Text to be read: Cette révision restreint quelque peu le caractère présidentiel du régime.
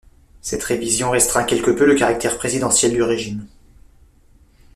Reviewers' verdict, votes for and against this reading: accepted, 2, 0